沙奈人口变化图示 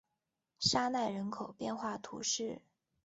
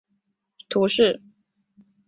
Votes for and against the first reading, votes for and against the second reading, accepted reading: 2, 0, 0, 3, first